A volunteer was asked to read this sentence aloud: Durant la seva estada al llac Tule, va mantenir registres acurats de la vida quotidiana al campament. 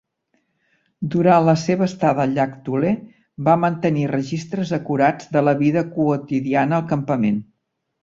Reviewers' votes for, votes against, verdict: 3, 0, accepted